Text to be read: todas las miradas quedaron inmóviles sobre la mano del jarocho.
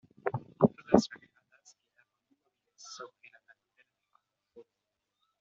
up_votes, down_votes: 1, 2